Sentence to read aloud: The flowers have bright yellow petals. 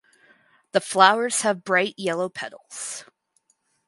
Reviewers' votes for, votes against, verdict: 4, 0, accepted